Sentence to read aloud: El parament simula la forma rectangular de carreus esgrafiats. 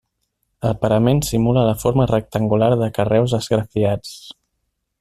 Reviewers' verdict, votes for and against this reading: accepted, 3, 1